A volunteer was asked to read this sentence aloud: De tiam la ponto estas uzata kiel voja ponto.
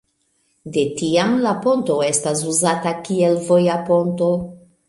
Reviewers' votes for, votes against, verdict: 1, 2, rejected